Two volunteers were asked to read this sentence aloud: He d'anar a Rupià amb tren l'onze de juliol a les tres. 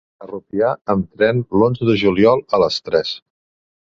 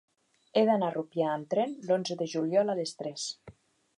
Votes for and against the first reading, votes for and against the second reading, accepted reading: 0, 2, 3, 0, second